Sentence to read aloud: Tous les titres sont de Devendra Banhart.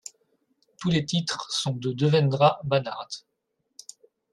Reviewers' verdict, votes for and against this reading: accepted, 2, 0